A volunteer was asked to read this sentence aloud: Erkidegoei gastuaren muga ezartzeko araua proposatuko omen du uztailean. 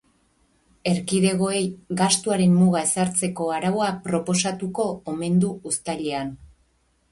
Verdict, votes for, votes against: accepted, 4, 0